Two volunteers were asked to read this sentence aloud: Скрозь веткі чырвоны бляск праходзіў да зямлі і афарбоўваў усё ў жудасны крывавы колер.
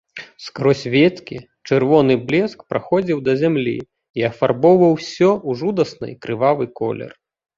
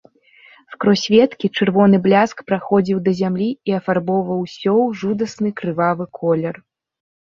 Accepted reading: second